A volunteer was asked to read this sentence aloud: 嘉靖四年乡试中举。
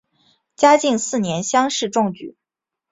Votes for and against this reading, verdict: 3, 0, accepted